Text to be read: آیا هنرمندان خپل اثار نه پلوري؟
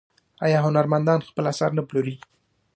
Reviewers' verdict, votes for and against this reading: accepted, 2, 0